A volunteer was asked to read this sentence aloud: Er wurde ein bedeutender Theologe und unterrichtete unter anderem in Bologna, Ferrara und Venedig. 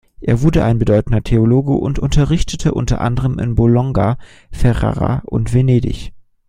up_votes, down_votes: 1, 2